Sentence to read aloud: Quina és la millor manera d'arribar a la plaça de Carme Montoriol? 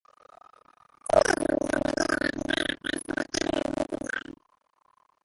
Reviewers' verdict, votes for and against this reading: rejected, 1, 2